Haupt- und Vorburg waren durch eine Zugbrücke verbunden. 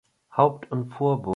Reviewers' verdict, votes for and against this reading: rejected, 0, 2